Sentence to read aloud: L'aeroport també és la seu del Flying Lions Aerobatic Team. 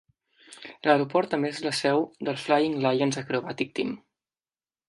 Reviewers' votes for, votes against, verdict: 1, 2, rejected